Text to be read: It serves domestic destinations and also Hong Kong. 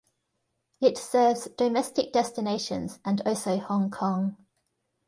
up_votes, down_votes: 2, 0